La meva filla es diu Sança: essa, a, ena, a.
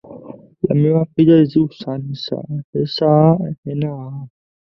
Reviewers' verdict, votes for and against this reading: rejected, 0, 2